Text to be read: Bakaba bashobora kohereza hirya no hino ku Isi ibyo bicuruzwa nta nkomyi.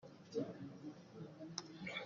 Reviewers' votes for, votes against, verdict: 0, 2, rejected